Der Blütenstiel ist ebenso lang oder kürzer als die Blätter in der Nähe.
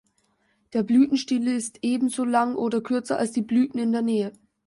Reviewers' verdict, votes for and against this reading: rejected, 1, 2